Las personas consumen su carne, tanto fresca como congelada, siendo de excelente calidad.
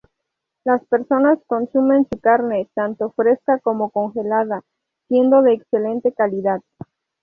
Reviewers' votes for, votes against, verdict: 2, 0, accepted